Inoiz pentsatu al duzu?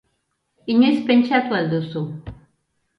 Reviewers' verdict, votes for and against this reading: accepted, 2, 0